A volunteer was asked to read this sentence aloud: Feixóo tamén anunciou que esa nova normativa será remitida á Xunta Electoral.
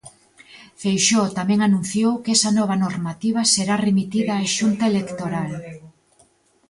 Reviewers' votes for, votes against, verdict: 0, 2, rejected